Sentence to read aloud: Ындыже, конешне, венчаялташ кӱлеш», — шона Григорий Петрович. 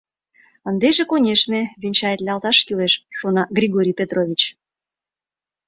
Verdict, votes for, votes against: rejected, 0, 2